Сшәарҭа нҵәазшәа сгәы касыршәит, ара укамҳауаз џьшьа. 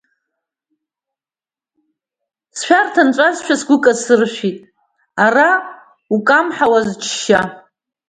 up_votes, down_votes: 0, 2